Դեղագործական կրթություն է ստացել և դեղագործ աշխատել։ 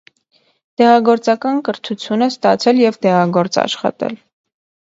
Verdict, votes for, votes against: accepted, 2, 0